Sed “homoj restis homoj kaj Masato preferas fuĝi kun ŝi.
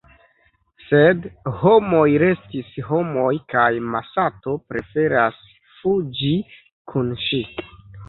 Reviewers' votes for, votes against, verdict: 2, 0, accepted